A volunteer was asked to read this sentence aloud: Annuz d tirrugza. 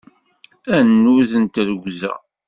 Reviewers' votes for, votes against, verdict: 0, 2, rejected